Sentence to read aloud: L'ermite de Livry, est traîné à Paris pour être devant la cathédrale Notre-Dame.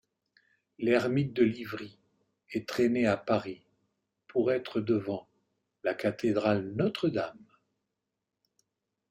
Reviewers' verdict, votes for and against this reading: accepted, 2, 0